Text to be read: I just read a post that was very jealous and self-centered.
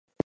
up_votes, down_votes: 4, 12